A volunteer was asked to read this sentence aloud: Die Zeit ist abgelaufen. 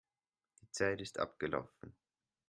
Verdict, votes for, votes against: accepted, 2, 0